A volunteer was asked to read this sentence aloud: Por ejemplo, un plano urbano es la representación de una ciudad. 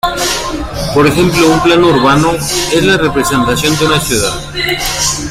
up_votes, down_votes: 2, 1